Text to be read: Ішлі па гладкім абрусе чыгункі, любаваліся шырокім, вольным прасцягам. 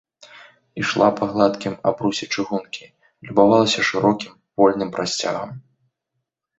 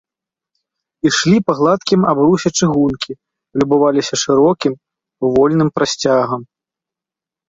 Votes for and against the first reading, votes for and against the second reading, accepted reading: 0, 2, 2, 0, second